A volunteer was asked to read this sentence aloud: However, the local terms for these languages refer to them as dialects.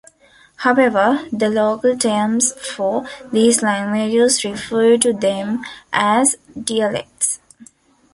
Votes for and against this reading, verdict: 1, 2, rejected